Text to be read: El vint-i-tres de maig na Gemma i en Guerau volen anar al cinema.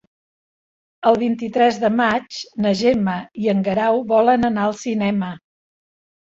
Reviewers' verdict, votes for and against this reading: accepted, 4, 1